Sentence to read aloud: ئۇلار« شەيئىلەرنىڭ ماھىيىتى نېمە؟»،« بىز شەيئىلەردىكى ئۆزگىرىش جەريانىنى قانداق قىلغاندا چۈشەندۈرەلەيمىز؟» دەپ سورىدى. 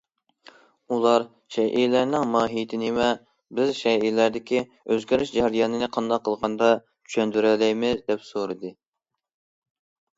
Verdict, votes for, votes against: accepted, 2, 0